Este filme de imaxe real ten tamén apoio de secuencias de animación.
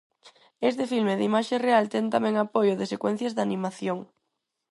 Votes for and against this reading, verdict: 4, 0, accepted